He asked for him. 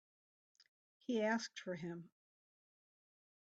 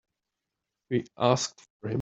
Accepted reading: first